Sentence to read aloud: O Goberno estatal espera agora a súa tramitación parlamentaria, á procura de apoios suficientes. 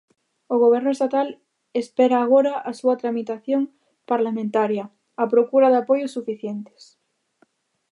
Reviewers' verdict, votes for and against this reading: accepted, 2, 0